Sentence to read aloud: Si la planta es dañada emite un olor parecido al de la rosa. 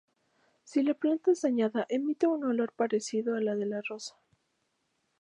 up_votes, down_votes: 2, 2